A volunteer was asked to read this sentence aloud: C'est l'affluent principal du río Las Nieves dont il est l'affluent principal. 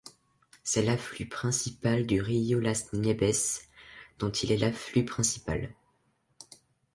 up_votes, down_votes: 0, 2